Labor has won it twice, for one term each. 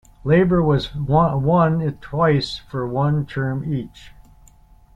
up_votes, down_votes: 0, 2